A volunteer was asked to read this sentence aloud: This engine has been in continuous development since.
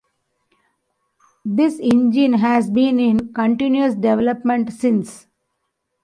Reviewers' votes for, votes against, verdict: 2, 0, accepted